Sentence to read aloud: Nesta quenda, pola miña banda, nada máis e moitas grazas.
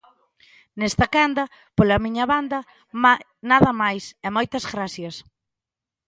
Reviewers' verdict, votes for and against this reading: rejected, 0, 2